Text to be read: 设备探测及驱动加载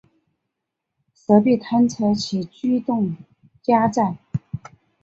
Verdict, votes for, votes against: accepted, 3, 0